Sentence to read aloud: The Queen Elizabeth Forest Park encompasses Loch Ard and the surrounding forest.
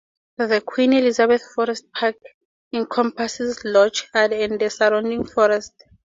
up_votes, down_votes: 2, 4